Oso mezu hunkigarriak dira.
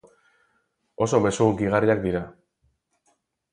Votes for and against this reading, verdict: 6, 0, accepted